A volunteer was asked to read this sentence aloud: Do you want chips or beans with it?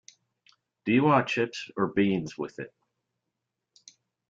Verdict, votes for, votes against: accepted, 2, 0